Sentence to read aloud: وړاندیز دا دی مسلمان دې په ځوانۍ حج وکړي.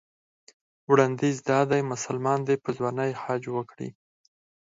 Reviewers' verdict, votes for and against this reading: accepted, 4, 0